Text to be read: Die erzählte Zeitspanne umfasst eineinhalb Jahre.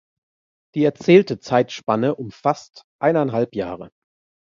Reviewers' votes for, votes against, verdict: 2, 0, accepted